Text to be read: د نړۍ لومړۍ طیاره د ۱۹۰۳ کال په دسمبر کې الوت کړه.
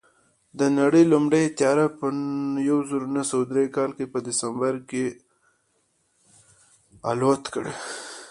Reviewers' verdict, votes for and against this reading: rejected, 0, 2